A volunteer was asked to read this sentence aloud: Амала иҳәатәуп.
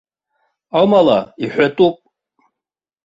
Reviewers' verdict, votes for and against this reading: accepted, 2, 0